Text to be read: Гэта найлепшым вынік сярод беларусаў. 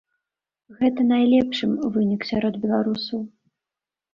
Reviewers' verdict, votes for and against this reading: accepted, 2, 1